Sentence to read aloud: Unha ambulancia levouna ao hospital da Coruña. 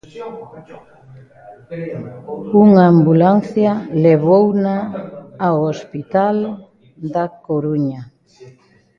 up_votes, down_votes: 2, 1